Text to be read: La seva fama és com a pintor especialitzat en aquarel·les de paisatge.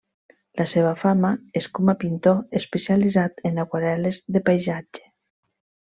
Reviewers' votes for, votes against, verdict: 0, 2, rejected